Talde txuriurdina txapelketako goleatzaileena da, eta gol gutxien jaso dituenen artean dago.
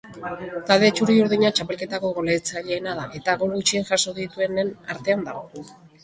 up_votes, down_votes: 2, 1